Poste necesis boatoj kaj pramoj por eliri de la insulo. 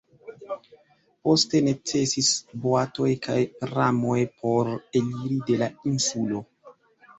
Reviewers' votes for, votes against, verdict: 2, 0, accepted